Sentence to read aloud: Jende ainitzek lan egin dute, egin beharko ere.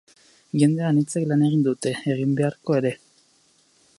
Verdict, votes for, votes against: rejected, 2, 2